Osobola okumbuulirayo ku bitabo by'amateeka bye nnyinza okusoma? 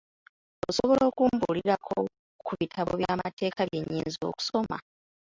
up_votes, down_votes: 0, 2